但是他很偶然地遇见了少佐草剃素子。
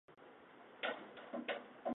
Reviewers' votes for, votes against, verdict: 2, 3, rejected